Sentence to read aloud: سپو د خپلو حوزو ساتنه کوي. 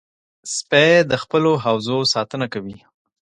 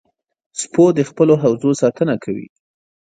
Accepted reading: first